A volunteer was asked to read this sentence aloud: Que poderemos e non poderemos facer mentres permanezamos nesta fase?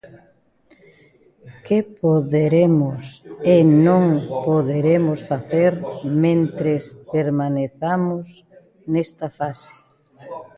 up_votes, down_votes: 1, 2